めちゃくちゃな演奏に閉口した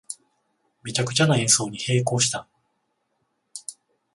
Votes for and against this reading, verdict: 14, 0, accepted